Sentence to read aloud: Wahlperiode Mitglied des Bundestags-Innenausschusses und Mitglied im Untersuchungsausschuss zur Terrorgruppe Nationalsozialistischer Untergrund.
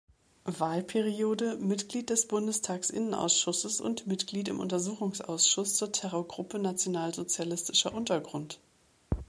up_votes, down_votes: 2, 0